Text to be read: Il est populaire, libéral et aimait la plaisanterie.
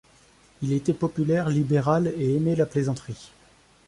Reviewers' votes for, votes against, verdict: 0, 2, rejected